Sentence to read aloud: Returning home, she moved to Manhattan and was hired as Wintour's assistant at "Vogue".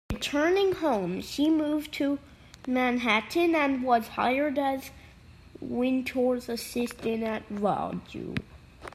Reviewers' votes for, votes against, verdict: 1, 2, rejected